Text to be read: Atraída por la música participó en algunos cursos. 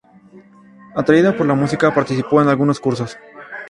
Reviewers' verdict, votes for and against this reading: rejected, 0, 2